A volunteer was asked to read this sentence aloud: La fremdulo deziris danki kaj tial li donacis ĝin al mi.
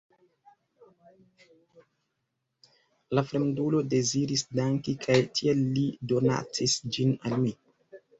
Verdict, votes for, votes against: rejected, 1, 2